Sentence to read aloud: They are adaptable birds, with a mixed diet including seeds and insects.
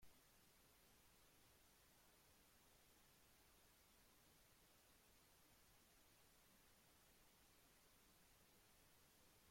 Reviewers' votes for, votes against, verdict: 0, 2, rejected